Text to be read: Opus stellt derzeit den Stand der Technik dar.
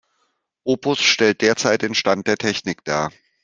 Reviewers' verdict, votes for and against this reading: accepted, 2, 0